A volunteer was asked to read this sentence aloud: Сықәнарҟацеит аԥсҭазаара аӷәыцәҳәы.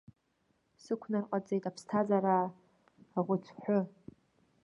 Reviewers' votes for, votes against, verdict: 0, 2, rejected